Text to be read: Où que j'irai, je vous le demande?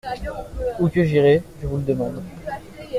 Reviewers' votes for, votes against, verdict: 0, 2, rejected